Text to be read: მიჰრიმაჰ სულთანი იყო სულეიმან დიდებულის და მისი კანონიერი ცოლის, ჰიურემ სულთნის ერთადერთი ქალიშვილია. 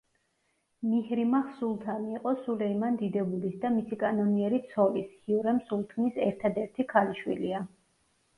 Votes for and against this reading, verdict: 1, 2, rejected